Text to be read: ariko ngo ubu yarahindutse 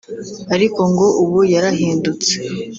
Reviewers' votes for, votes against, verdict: 2, 0, accepted